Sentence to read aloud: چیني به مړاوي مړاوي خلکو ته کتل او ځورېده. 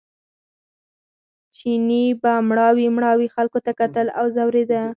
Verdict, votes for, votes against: rejected, 0, 4